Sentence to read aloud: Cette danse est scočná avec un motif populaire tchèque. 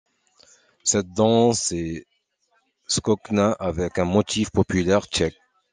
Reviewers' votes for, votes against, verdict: 2, 0, accepted